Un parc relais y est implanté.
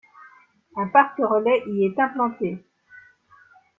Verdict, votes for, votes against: accepted, 2, 0